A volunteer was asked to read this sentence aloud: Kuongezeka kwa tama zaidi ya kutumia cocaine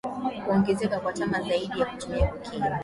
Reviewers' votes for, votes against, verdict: 2, 0, accepted